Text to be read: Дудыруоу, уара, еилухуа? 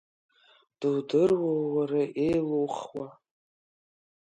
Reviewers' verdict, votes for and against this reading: accepted, 2, 0